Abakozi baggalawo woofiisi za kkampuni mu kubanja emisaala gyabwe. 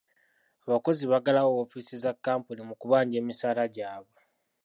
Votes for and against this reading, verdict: 2, 0, accepted